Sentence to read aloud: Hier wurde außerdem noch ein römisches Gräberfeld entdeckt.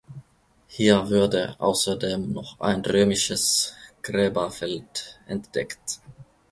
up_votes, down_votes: 0, 2